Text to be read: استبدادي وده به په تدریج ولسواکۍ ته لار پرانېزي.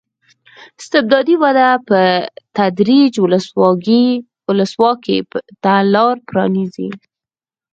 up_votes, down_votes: 2, 4